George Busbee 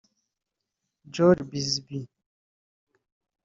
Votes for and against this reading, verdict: 1, 2, rejected